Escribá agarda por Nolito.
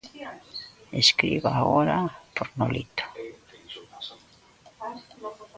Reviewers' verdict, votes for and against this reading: rejected, 1, 2